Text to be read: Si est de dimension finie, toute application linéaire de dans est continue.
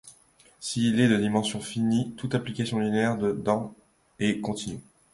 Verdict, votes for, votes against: rejected, 1, 2